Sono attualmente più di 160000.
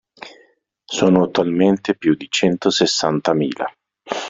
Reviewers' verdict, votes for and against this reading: rejected, 0, 2